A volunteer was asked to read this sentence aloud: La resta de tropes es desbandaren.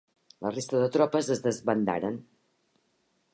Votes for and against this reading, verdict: 4, 0, accepted